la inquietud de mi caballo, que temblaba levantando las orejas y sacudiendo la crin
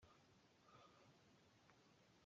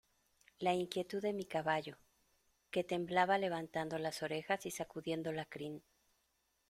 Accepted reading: second